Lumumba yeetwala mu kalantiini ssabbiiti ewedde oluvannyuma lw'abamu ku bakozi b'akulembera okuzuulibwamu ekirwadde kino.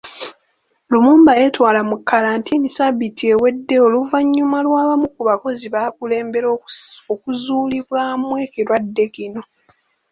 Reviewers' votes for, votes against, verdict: 1, 2, rejected